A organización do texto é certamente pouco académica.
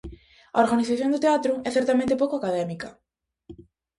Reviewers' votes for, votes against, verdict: 0, 2, rejected